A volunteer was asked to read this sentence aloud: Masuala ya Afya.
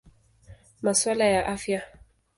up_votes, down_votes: 2, 0